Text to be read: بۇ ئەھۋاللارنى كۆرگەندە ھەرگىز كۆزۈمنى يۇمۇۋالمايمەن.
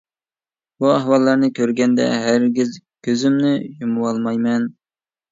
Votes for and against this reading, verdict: 2, 0, accepted